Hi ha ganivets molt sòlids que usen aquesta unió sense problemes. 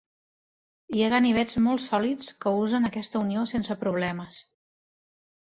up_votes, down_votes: 4, 0